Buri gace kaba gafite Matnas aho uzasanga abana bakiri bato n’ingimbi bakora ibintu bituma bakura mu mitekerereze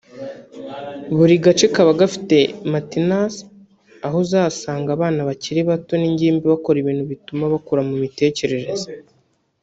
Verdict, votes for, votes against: rejected, 2, 3